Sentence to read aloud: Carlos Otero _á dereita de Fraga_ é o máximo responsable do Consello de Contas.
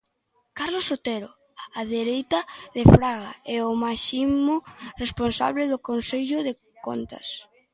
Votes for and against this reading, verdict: 2, 0, accepted